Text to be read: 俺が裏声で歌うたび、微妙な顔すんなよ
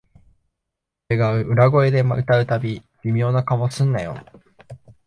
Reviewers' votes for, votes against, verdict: 2, 1, accepted